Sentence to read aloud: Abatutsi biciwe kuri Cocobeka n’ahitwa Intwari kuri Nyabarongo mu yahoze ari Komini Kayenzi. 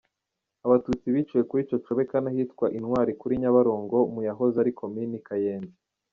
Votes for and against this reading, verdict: 2, 1, accepted